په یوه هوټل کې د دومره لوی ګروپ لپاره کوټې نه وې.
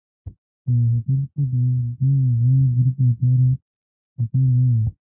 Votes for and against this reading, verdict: 0, 2, rejected